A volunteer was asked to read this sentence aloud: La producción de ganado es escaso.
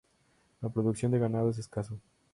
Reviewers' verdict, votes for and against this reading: rejected, 0, 2